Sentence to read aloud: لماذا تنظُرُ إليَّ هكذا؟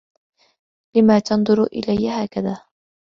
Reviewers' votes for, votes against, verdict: 2, 0, accepted